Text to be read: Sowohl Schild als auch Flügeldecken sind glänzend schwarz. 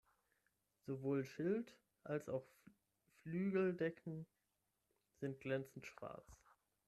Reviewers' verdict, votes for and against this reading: rejected, 0, 6